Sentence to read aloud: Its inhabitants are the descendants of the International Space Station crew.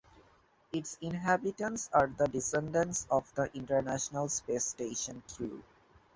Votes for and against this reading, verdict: 2, 0, accepted